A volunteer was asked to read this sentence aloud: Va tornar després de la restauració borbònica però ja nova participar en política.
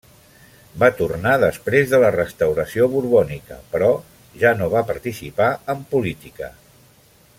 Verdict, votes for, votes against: accepted, 2, 0